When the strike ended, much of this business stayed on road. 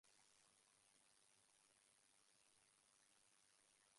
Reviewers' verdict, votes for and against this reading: rejected, 0, 2